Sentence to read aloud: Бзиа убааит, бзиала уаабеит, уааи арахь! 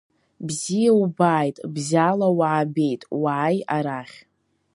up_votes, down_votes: 0, 2